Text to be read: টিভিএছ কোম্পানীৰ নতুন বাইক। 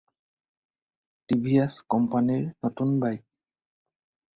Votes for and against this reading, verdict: 2, 2, rejected